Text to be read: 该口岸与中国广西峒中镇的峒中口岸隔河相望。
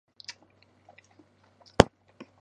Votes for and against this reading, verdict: 0, 2, rejected